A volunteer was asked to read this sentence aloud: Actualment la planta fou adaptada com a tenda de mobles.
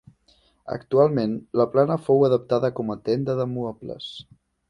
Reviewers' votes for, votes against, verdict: 0, 2, rejected